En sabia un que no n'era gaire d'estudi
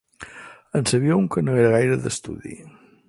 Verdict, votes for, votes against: rejected, 6, 8